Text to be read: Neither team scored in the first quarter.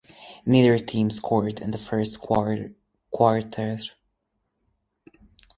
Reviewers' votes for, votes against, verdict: 0, 4, rejected